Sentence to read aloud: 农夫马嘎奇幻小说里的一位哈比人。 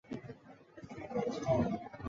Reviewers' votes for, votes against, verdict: 0, 2, rejected